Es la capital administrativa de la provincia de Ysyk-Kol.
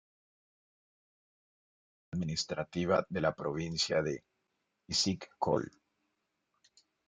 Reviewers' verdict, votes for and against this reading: rejected, 0, 2